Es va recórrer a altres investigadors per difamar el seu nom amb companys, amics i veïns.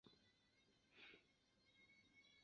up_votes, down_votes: 0, 2